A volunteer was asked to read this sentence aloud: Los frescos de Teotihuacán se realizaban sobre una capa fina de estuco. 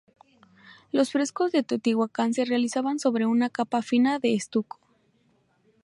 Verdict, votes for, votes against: rejected, 0, 2